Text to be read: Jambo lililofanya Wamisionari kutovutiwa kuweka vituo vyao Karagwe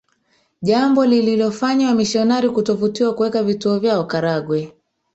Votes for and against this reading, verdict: 1, 2, rejected